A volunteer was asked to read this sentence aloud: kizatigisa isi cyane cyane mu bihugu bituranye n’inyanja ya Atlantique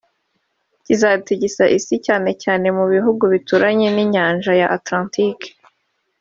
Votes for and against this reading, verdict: 1, 2, rejected